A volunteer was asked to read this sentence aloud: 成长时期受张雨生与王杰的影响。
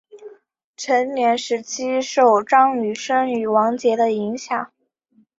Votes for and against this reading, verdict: 2, 1, accepted